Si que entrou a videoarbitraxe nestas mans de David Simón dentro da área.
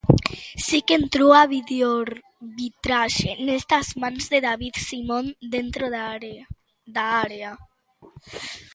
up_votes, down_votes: 0, 2